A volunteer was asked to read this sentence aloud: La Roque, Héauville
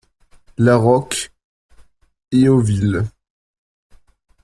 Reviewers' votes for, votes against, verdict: 2, 1, accepted